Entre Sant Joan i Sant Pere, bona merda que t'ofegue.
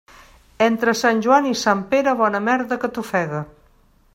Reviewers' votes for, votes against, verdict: 2, 0, accepted